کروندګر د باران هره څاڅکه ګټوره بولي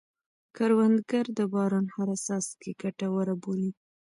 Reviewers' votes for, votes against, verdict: 1, 2, rejected